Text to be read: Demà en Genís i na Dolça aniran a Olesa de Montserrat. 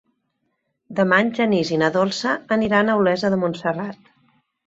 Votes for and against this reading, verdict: 3, 0, accepted